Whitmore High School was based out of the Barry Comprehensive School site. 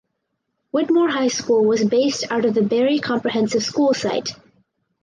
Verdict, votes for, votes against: accepted, 4, 0